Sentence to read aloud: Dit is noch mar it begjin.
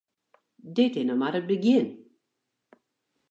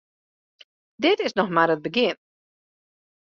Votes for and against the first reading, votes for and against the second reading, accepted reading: 0, 2, 2, 0, second